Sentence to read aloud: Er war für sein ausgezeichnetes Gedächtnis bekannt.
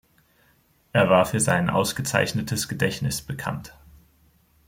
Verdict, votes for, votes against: accepted, 2, 0